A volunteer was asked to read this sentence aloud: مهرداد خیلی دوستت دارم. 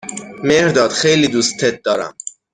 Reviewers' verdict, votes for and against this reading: accepted, 6, 0